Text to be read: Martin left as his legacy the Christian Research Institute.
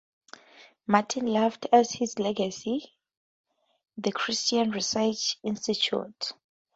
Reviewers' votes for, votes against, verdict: 2, 0, accepted